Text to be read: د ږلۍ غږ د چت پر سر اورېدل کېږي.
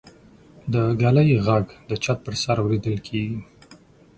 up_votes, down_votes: 6, 0